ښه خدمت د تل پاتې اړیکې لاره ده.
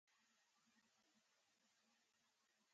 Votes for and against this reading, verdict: 0, 2, rejected